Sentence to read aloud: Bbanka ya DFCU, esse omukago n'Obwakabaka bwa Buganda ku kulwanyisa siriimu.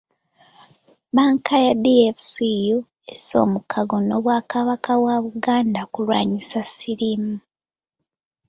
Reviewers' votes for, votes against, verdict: 1, 2, rejected